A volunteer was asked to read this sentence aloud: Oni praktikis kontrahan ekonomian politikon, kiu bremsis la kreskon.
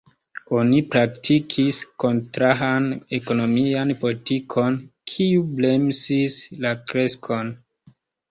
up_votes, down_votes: 1, 2